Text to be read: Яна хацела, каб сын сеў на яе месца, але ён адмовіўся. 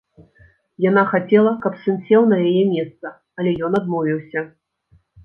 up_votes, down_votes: 2, 0